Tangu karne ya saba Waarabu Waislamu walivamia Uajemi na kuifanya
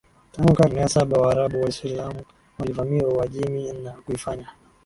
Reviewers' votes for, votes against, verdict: 2, 0, accepted